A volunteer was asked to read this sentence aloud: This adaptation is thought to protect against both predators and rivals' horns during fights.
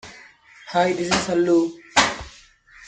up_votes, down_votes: 0, 2